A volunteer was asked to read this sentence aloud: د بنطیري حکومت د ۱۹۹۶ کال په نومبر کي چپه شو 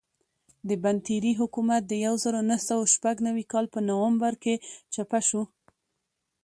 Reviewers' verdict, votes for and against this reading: rejected, 0, 2